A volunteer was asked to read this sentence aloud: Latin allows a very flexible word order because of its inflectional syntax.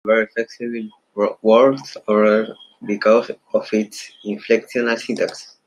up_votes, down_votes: 0, 2